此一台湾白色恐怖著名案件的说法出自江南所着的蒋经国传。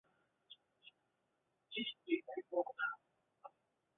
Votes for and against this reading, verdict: 2, 0, accepted